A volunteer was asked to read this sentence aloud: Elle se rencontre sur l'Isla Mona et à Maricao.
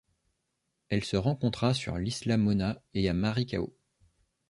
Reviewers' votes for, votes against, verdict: 1, 2, rejected